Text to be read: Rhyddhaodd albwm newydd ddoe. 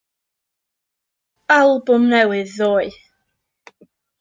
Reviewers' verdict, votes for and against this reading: rejected, 0, 2